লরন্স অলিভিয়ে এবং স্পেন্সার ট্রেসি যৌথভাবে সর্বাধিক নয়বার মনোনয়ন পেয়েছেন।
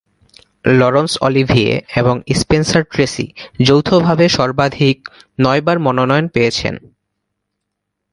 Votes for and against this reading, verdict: 2, 0, accepted